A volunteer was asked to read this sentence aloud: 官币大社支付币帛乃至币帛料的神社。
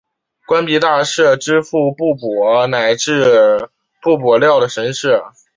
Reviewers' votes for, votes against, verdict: 3, 1, accepted